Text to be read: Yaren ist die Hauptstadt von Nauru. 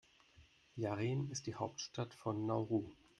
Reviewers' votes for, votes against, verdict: 1, 2, rejected